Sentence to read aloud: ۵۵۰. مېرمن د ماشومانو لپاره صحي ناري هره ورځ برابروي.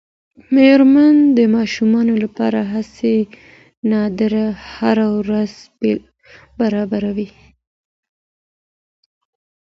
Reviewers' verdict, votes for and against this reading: rejected, 0, 2